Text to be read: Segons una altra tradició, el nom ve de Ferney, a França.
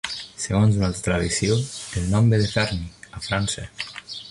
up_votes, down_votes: 0, 2